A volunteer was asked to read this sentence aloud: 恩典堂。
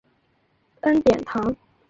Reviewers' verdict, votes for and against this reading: accepted, 2, 0